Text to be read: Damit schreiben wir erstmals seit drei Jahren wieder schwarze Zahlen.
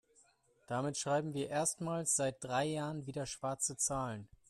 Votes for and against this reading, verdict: 2, 1, accepted